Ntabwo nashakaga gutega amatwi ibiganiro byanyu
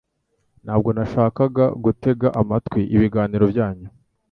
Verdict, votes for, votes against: accepted, 2, 0